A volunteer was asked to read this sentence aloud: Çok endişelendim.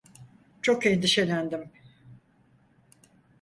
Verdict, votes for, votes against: accepted, 4, 0